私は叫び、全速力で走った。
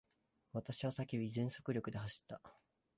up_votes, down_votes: 2, 1